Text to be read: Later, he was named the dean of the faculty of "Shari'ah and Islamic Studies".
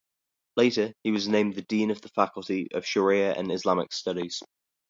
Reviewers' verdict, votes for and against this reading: accepted, 2, 0